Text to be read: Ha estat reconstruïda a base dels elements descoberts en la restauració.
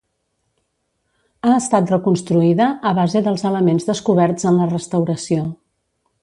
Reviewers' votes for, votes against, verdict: 2, 0, accepted